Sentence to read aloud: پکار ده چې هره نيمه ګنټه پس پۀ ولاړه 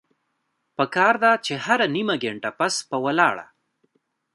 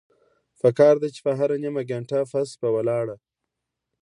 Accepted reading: second